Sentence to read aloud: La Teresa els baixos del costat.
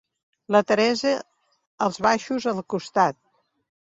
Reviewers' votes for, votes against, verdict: 1, 2, rejected